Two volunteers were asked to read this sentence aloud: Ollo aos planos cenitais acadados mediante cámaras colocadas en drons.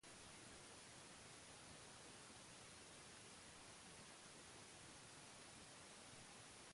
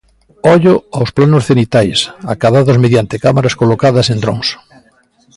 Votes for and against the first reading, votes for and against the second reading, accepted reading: 0, 2, 2, 1, second